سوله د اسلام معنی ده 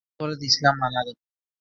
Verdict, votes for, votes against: rejected, 1, 2